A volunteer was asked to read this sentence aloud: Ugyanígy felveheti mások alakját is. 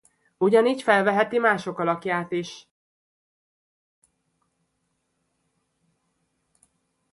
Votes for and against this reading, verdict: 2, 0, accepted